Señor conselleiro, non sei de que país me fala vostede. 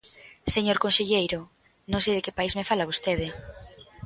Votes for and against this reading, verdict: 2, 1, accepted